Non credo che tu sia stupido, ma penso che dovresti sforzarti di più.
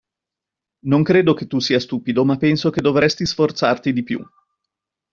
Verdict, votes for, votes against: accepted, 2, 0